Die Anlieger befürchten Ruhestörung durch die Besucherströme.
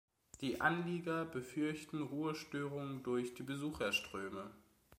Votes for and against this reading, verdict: 2, 0, accepted